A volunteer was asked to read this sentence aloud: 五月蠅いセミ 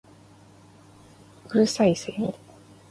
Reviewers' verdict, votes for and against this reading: accepted, 2, 0